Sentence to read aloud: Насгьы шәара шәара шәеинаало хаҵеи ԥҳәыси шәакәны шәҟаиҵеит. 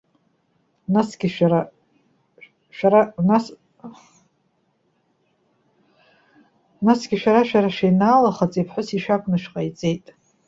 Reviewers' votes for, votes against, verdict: 0, 2, rejected